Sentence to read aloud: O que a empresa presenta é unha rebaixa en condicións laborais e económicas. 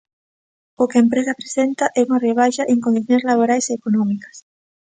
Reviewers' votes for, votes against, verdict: 3, 0, accepted